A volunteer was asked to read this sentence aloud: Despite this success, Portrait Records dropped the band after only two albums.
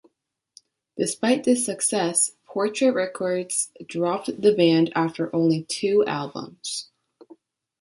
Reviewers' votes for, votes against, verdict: 1, 2, rejected